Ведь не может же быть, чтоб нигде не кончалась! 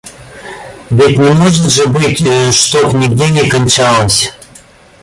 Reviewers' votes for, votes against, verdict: 0, 2, rejected